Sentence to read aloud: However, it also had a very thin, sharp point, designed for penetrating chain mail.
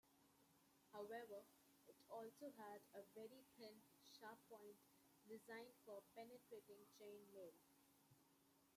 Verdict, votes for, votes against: rejected, 0, 2